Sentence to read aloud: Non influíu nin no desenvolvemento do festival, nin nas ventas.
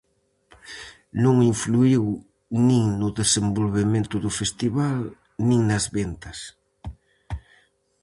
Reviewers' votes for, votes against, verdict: 4, 0, accepted